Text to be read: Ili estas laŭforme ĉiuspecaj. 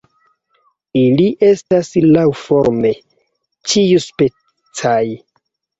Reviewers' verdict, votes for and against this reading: accepted, 2, 0